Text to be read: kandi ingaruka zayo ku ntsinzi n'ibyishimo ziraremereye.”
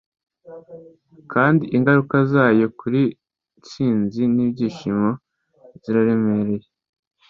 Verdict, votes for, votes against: accepted, 2, 0